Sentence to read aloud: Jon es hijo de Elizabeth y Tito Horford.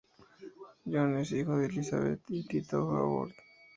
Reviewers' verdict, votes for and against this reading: rejected, 0, 2